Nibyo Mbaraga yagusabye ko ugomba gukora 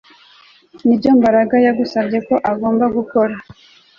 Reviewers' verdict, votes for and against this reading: accepted, 2, 0